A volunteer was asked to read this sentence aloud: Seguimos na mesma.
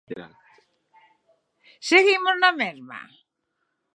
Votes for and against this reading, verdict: 6, 0, accepted